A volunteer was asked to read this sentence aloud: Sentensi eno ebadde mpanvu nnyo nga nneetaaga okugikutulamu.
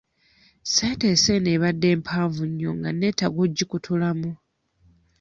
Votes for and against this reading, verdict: 2, 1, accepted